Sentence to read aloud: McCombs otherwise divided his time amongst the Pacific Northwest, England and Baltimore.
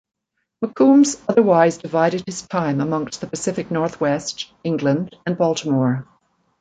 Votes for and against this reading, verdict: 1, 2, rejected